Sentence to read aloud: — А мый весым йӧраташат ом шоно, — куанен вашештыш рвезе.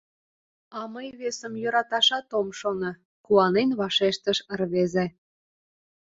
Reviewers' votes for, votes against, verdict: 2, 0, accepted